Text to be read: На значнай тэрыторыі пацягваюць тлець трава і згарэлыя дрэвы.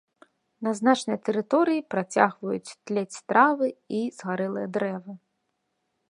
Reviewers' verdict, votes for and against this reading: rejected, 1, 2